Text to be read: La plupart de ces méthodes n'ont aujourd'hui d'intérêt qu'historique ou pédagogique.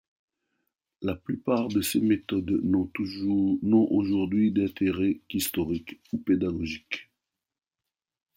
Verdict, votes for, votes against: rejected, 1, 2